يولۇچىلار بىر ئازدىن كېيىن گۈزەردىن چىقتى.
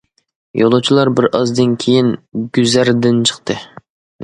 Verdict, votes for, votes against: accepted, 2, 0